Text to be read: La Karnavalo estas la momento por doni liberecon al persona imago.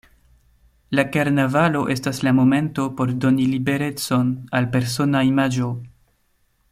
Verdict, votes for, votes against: rejected, 0, 2